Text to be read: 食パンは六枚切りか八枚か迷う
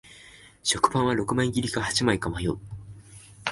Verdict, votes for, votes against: accepted, 2, 1